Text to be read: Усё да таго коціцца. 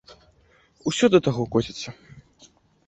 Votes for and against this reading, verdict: 2, 0, accepted